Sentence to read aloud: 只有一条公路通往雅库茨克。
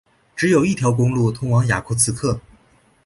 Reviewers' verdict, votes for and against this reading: accepted, 2, 0